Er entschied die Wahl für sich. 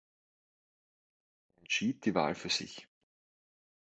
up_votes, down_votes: 0, 2